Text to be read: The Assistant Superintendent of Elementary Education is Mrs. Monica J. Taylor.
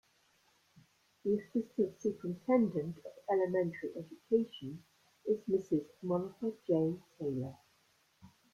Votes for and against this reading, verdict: 0, 2, rejected